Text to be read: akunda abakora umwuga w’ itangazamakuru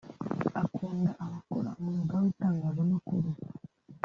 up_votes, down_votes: 1, 2